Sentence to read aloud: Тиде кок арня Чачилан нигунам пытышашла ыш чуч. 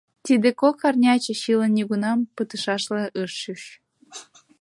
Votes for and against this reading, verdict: 2, 0, accepted